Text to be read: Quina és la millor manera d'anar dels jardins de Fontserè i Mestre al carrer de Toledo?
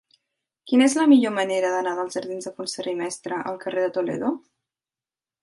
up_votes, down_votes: 6, 0